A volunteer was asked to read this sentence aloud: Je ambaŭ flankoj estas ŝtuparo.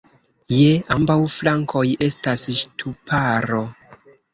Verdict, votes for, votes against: accepted, 3, 0